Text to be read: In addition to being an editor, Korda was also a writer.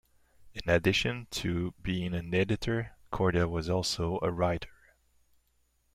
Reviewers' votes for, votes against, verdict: 2, 0, accepted